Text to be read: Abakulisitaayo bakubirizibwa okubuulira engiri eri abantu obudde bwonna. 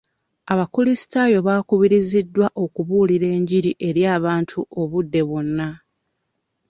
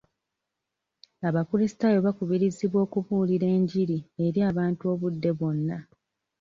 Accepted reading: second